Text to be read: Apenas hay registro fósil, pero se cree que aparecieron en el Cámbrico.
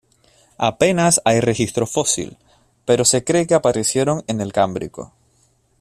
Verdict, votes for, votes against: accepted, 2, 0